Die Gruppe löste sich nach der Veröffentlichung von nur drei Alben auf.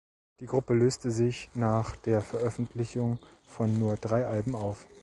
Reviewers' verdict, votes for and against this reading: accepted, 2, 0